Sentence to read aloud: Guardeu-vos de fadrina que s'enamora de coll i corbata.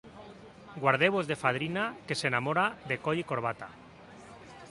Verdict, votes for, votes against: accepted, 3, 0